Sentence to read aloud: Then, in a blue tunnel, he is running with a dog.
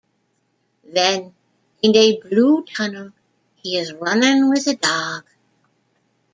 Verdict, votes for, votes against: rejected, 1, 2